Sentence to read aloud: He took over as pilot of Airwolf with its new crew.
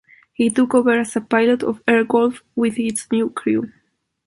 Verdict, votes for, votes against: rejected, 1, 2